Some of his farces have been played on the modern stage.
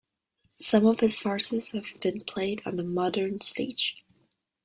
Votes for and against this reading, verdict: 2, 0, accepted